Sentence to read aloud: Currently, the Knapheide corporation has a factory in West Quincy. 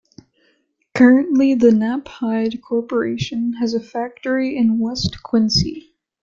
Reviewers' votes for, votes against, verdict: 2, 1, accepted